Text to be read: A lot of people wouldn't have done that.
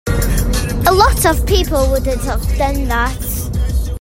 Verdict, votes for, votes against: accepted, 2, 1